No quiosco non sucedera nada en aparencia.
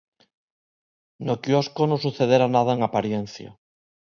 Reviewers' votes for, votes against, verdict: 1, 2, rejected